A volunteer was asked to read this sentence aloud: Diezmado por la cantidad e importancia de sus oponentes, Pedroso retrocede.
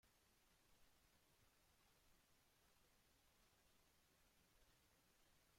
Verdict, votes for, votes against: rejected, 0, 2